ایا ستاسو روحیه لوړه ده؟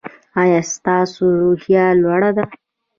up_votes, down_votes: 2, 1